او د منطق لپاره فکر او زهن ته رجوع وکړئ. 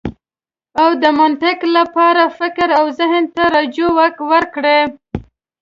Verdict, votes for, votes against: accepted, 2, 0